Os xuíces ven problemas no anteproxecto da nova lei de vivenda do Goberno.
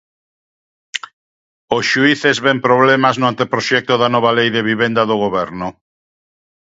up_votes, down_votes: 2, 0